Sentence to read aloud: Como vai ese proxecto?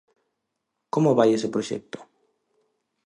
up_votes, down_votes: 2, 0